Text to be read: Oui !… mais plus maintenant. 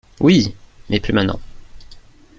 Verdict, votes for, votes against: accepted, 2, 0